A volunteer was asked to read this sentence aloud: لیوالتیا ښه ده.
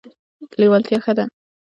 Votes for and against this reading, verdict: 1, 2, rejected